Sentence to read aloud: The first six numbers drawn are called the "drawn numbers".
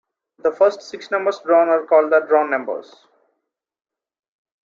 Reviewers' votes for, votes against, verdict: 0, 2, rejected